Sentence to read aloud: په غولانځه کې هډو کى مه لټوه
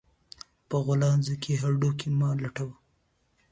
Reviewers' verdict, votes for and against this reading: accepted, 2, 0